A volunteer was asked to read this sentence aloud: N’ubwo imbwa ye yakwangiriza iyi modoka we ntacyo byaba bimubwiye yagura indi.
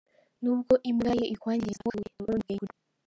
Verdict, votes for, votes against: rejected, 1, 2